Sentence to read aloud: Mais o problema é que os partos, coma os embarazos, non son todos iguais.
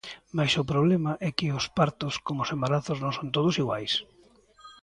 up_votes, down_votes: 1, 2